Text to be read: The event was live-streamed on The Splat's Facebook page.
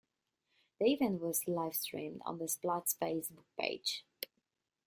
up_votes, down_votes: 0, 2